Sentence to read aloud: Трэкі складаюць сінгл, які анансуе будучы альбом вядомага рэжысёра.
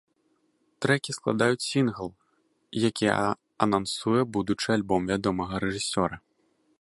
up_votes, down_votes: 0, 2